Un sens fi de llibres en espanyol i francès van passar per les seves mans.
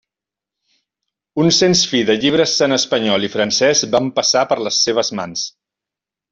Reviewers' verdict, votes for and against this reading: accepted, 2, 0